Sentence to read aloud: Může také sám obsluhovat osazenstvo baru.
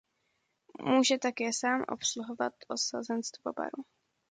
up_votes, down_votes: 2, 0